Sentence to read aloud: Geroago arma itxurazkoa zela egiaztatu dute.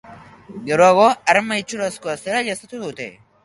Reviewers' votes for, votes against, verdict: 0, 2, rejected